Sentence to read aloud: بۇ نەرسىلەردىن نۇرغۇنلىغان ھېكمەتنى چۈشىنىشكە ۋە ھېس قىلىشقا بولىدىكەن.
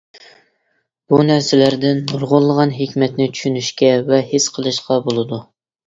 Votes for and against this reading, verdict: 0, 2, rejected